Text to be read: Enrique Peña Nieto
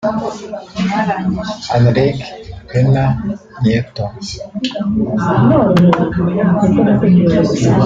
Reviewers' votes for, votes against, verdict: 0, 2, rejected